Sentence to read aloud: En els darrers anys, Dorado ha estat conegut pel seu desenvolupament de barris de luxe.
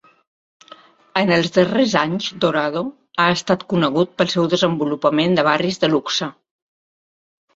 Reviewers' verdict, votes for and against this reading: accepted, 2, 0